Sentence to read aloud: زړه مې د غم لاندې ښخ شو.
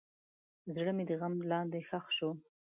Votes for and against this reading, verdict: 2, 0, accepted